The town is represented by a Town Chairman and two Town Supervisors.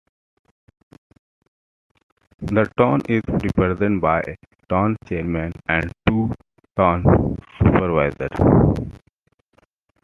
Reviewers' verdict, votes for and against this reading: rejected, 0, 2